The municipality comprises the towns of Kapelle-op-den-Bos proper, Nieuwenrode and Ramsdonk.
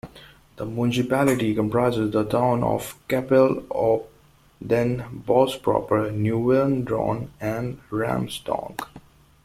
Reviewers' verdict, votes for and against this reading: rejected, 0, 2